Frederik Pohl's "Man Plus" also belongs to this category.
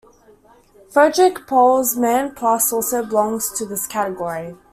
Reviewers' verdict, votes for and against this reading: accepted, 2, 0